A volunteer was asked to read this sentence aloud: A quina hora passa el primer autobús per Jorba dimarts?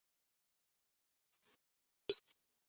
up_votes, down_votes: 0, 2